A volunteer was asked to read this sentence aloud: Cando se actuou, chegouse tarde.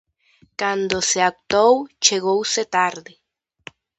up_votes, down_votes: 0, 2